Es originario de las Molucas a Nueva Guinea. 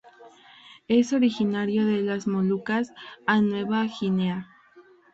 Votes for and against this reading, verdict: 0, 2, rejected